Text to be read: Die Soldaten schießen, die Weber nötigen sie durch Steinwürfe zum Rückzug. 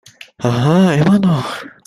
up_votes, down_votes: 0, 2